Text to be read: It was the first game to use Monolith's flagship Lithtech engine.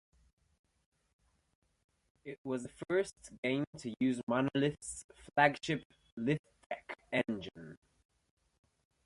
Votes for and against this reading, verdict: 3, 0, accepted